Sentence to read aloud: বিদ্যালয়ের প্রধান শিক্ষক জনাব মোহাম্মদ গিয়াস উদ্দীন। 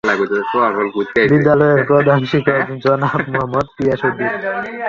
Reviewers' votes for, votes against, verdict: 3, 8, rejected